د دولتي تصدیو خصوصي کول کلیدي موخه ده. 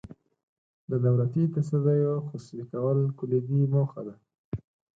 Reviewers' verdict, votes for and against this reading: accepted, 4, 2